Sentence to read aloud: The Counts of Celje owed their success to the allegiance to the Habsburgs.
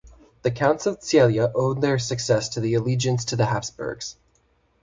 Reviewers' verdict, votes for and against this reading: accepted, 2, 0